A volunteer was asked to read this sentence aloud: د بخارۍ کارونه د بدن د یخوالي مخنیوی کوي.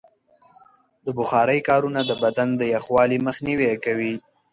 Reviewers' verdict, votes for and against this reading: accepted, 2, 0